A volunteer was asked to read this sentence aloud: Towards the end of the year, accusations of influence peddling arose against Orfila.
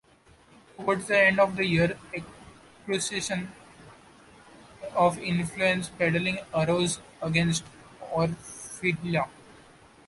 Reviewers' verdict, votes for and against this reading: accepted, 2, 0